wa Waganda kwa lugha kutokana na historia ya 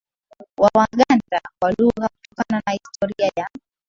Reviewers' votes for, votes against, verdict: 0, 2, rejected